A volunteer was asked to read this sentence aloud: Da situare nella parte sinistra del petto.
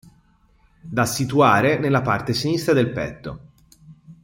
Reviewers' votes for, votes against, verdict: 2, 0, accepted